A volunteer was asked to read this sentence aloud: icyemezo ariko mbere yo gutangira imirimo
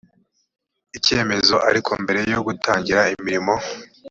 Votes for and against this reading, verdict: 2, 0, accepted